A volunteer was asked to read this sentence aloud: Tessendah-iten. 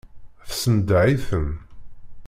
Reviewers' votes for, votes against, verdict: 1, 2, rejected